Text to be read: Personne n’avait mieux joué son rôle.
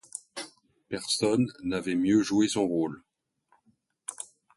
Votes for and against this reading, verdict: 2, 0, accepted